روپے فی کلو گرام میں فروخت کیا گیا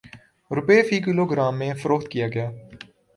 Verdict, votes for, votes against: accepted, 3, 0